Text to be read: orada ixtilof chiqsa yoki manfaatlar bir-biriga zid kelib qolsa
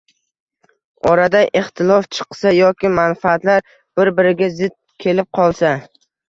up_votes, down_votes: 0, 2